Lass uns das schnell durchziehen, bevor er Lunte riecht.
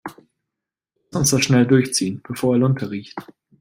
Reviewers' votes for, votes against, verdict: 1, 2, rejected